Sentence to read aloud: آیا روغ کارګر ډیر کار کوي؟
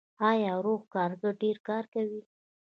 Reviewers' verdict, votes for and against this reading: rejected, 1, 2